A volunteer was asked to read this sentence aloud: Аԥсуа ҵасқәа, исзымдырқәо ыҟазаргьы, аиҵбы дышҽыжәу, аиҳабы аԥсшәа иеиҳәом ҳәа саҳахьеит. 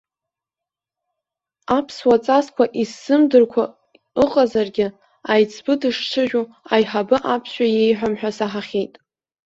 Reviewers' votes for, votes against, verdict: 1, 2, rejected